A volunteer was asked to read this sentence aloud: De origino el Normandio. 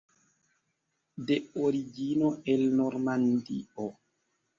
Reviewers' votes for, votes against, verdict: 2, 0, accepted